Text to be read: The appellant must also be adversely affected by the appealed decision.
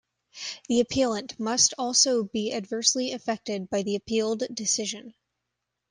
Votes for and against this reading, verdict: 2, 0, accepted